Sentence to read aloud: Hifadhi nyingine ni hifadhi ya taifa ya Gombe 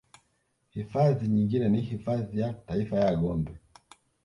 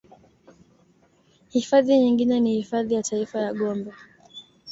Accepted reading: second